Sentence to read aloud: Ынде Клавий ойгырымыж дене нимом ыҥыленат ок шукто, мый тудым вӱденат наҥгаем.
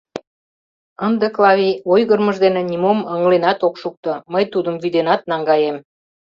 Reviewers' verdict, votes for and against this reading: accepted, 2, 0